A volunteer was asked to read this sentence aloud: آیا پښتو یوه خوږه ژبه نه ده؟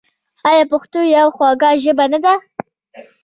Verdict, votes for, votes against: rejected, 0, 2